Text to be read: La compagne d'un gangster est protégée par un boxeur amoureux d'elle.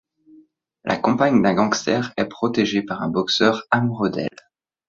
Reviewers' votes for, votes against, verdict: 2, 0, accepted